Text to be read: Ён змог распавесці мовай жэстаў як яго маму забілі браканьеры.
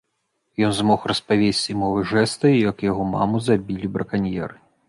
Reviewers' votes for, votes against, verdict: 1, 2, rejected